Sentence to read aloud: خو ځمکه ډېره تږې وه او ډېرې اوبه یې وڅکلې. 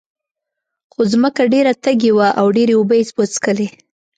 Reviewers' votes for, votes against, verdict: 2, 0, accepted